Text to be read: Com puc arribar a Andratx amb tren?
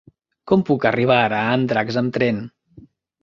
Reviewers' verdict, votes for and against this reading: rejected, 1, 2